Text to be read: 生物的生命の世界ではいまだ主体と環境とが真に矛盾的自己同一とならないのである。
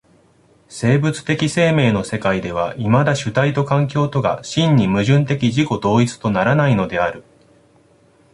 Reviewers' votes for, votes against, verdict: 1, 2, rejected